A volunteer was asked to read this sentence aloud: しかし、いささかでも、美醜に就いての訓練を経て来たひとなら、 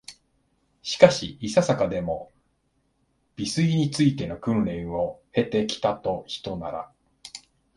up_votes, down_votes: 3, 2